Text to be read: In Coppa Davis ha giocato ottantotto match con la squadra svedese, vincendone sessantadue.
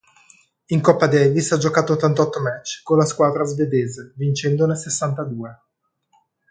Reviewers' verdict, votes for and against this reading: accepted, 2, 0